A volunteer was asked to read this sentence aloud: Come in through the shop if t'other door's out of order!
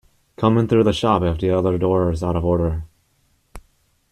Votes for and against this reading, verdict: 0, 2, rejected